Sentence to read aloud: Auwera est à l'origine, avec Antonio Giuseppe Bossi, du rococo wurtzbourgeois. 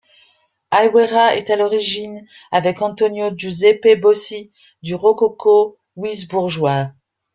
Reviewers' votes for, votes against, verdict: 1, 2, rejected